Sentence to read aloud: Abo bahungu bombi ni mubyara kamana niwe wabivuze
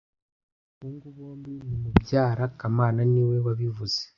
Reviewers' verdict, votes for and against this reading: rejected, 1, 2